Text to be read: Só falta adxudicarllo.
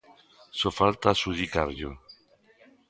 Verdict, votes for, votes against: accepted, 2, 0